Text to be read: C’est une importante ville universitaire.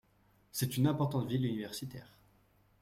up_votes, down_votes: 2, 0